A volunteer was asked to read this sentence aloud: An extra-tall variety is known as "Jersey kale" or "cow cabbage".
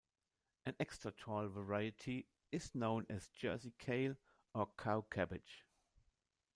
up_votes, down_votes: 1, 2